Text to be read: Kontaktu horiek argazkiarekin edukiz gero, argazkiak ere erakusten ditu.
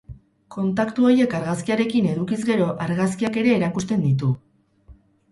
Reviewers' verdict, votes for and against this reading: rejected, 2, 2